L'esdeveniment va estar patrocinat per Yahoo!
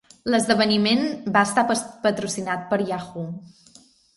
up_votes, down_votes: 0, 2